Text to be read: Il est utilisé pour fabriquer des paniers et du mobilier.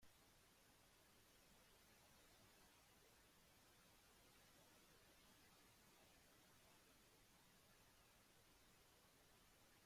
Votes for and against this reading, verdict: 1, 2, rejected